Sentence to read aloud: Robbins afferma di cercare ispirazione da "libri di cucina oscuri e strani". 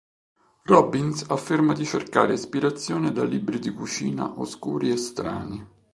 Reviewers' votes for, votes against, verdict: 3, 0, accepted